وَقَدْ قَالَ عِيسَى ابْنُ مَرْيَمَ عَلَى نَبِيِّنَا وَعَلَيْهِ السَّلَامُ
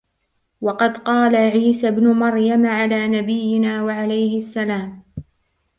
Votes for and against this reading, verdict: 0, 2, rejected